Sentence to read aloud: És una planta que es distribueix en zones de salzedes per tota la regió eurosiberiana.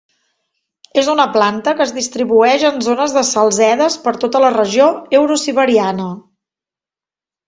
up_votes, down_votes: 2, 0